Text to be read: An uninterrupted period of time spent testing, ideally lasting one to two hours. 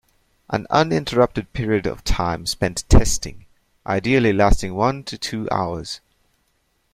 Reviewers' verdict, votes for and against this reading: accepted, 2, 1